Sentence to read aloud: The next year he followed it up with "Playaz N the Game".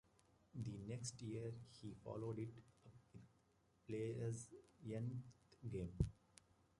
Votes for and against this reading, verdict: 0, 2, rejected